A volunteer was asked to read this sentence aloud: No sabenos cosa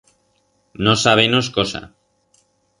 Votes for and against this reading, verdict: 4, 0, accepted